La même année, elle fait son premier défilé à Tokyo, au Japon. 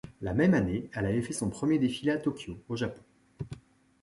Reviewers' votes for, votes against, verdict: 0, 2, rejected